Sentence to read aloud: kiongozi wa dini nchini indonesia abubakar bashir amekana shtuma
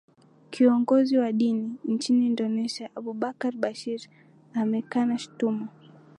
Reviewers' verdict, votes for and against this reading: rejected, 1, 2